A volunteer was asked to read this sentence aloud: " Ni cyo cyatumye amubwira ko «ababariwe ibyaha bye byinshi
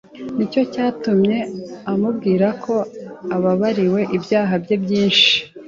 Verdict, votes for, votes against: accepted, 2, 0